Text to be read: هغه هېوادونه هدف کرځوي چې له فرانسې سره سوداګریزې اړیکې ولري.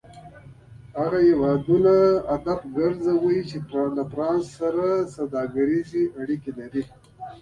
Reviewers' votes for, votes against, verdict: 2, 0, accepted